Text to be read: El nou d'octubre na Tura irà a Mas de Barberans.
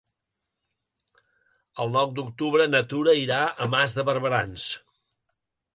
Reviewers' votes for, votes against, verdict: 2, 0, accepted